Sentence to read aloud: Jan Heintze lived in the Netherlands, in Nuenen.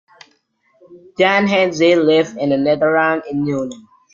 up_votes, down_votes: 1, 2